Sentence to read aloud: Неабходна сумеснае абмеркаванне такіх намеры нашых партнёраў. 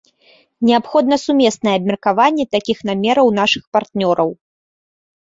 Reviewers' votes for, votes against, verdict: 2, 0, accepted